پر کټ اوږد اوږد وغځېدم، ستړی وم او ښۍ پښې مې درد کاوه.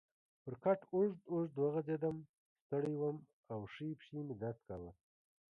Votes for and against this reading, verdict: 1, 2, rejected